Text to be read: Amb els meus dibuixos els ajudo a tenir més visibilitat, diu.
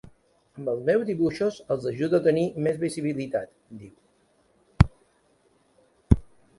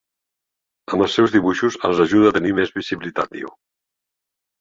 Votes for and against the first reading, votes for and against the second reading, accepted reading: 1, 2, 2, 1, second